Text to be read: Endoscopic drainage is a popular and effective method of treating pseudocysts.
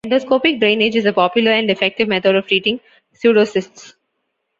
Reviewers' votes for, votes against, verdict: 2, 0, accepted